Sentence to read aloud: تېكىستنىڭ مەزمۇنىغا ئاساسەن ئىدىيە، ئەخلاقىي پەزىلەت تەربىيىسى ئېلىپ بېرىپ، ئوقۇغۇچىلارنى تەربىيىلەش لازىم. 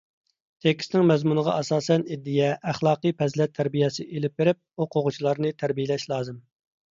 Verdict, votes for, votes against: accepted, 3, 0